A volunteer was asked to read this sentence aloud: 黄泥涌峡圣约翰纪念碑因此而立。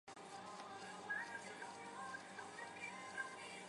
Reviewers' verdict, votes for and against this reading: rejected, 1, 2